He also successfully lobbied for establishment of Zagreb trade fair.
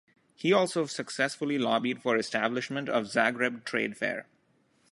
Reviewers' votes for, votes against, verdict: 2, 0, accepted